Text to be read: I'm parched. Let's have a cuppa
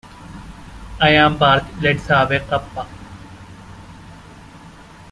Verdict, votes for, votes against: rejected, 1, 2